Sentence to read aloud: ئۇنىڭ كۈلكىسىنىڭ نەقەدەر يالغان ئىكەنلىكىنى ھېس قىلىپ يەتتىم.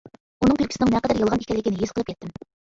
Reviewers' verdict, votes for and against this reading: rejected, 1, 2